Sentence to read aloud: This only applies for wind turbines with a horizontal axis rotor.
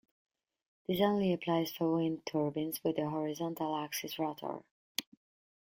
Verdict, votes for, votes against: accepted, 2, 1